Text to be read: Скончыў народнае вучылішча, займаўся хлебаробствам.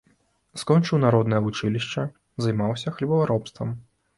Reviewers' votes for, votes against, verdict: 2, 1, accepted